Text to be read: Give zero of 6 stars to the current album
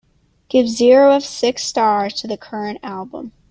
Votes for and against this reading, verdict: 0, 2, rejected